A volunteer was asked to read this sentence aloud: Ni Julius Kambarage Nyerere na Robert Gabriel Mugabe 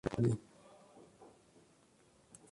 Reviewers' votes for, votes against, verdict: 0, 2, rejected